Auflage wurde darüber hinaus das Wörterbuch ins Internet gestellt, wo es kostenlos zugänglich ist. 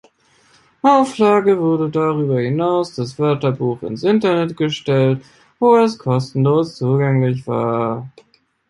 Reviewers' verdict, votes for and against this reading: rejected, 0, 2